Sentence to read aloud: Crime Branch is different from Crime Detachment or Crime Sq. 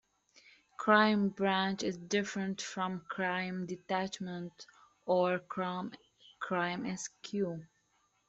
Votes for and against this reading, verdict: 0, 2, rejected